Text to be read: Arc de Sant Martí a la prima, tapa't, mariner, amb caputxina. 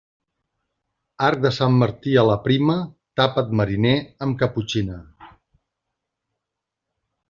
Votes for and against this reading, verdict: 2, 0, accepted